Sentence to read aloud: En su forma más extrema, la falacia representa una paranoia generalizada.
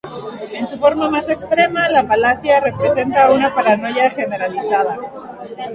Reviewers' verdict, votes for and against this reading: rejected, 0, 2